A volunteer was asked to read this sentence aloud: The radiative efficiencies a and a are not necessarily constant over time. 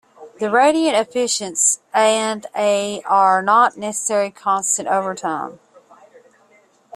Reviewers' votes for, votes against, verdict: 1, 2, rejected